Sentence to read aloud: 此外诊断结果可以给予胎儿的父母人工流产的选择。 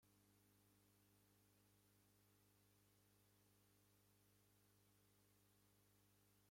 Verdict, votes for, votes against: rejected, 0, 2